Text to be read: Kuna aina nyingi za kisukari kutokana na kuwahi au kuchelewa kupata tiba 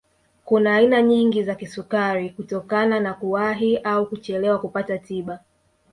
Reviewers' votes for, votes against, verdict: 2, 0, accepted